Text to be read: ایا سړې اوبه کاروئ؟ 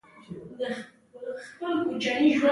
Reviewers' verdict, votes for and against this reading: rejected, 0, 2